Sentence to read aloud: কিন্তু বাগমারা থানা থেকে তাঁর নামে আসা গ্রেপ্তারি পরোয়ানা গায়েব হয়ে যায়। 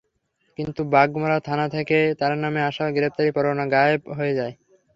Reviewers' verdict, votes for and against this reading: accepted, 3, 0